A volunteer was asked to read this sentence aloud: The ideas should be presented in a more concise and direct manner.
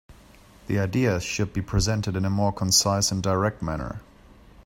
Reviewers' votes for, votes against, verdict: 2, 0, accepted